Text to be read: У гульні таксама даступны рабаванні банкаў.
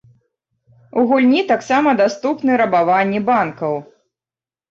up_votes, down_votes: 3, 0